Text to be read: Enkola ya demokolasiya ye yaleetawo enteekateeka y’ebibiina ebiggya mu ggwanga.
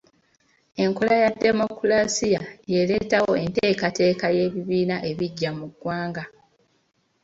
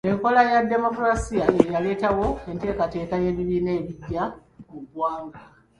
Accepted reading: first